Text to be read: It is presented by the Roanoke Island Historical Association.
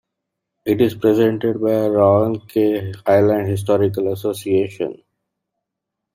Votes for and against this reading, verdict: 0, 2, rejected